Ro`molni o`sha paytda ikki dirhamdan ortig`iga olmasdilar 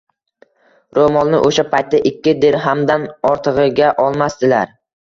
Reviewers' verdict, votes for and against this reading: accepted, 2, 0